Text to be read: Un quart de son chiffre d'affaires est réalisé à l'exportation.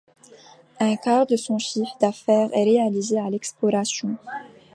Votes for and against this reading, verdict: 1, 2, rejected